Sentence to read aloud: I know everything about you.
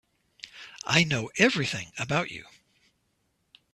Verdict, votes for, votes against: accepted, 2, 0